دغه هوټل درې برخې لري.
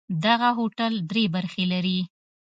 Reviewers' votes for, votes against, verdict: 2, 0, accepted